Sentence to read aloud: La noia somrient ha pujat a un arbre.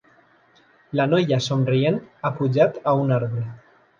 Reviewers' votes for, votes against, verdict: 2, 0, accepted